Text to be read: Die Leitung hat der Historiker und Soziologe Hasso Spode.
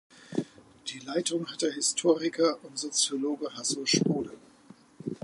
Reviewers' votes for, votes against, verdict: 2, 1, accepted